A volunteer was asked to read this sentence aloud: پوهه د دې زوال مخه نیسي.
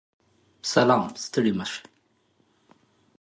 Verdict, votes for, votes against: rejected, 0, 2